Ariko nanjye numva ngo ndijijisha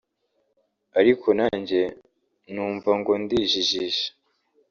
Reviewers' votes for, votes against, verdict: 2, 0, accepted